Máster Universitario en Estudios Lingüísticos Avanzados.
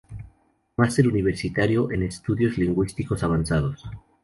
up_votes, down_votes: 0, 2